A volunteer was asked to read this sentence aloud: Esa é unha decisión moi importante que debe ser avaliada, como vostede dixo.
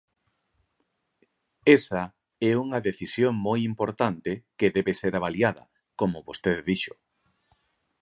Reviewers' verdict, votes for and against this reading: accepted, 4, 0